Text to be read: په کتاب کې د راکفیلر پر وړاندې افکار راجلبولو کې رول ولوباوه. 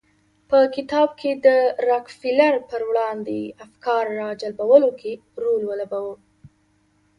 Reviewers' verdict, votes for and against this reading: accepted, 2, 0